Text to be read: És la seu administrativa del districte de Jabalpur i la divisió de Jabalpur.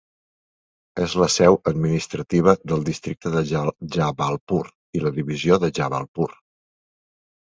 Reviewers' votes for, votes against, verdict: 0, 2, rejected